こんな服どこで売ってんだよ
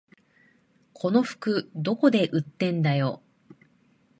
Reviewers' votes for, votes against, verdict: 0, 2, rejected